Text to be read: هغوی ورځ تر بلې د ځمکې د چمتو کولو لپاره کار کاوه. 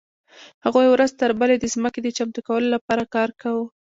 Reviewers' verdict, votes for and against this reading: accepted, 2, 0